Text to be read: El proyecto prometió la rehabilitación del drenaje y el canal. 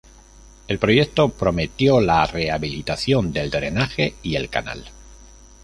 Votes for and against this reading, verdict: 2, 0, accepted